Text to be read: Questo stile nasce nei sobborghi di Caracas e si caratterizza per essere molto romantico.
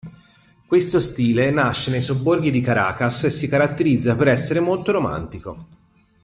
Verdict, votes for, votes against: accepted, 2, 0